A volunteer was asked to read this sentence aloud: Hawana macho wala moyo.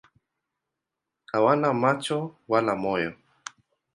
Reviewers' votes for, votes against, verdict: 2, 0, accepted